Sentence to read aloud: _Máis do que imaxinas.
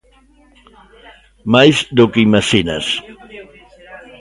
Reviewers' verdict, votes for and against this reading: rejected, 0, 2